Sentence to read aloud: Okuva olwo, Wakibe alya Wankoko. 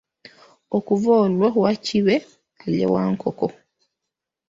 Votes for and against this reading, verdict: 1, 2, rejected